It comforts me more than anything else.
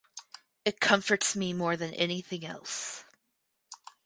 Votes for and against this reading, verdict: 4, 0, accepted